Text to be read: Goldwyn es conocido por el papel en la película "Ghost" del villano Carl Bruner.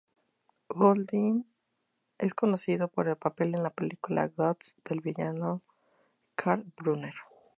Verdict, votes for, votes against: rejected, 0, 2